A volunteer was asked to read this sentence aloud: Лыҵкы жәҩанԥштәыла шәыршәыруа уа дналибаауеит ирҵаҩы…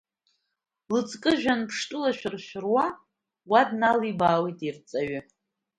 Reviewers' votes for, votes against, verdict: 2, 1, accepted